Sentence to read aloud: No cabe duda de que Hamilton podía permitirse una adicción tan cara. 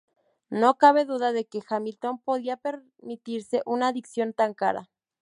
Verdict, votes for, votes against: accepted, 2, 0